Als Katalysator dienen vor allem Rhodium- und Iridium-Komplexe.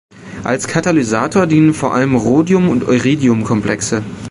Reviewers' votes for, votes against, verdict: 2, 0, accepted